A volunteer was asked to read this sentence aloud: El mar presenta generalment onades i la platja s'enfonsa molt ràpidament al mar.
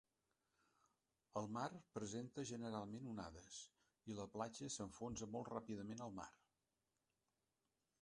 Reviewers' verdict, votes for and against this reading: accepted, 4, 3